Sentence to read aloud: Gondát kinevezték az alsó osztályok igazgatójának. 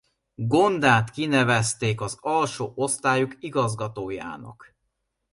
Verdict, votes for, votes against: accepted, 2, 0